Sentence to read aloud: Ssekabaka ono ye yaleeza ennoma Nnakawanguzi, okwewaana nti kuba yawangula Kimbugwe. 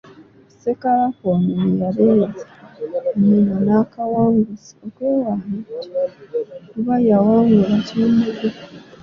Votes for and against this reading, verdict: 0, 2, rejected